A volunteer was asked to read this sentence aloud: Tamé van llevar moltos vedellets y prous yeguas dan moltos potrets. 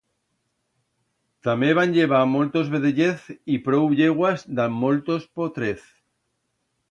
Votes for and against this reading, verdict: 1, 2, rejected